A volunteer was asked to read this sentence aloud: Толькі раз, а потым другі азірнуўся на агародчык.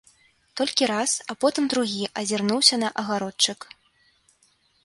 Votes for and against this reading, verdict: 2, 0, accepted